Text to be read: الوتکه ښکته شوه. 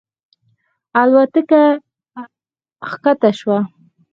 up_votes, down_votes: 4, 0